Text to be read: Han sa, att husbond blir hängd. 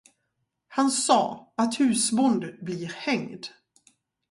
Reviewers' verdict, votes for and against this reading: accepted, 4, 0